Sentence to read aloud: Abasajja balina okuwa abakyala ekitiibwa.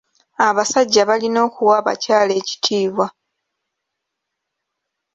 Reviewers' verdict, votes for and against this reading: accepted, 2, 0